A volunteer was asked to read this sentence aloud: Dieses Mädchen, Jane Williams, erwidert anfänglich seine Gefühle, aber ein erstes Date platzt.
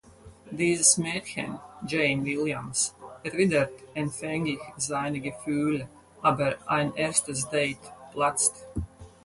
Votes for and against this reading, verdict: 2, 4, rejected